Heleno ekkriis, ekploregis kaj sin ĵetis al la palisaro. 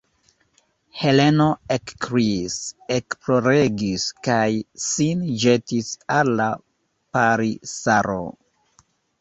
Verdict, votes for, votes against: rejected, 0, 2